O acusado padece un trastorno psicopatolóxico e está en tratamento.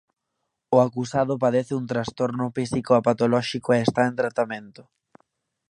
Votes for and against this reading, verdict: 1, 2, rejected